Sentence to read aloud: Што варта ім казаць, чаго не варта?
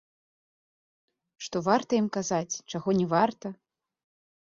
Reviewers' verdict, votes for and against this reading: accepted, 2, 0